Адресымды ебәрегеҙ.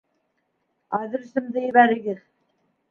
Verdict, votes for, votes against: accepted, 2, 0